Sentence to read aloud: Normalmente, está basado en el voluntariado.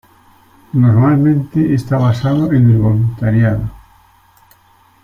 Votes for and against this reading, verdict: 2, 0, accepted